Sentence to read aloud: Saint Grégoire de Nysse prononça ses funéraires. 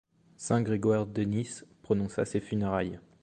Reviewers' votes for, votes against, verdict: 1, 2, rejected